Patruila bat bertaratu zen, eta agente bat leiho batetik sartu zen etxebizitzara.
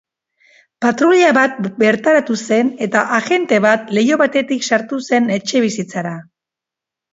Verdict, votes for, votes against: accepted, 3, 0